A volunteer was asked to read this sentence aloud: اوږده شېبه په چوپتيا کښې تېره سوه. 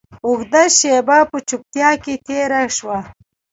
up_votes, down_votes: 2, 0